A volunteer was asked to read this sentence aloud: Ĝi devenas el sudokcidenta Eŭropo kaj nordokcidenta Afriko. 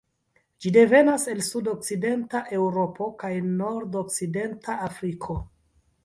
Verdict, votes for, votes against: accepted, 3, 0